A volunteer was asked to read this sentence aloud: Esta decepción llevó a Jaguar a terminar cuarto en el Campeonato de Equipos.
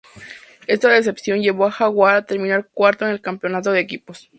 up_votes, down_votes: 2, 0